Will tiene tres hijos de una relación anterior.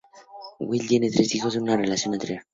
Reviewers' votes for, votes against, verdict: 2, 0, accepted